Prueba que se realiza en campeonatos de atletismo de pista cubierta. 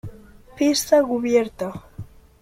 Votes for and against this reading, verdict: 0, 2, rejected